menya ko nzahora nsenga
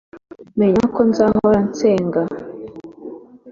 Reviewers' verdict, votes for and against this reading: accepted, 2, 0